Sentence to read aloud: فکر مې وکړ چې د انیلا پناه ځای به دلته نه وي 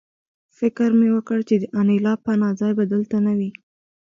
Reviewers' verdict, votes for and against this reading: accepted, 2, 1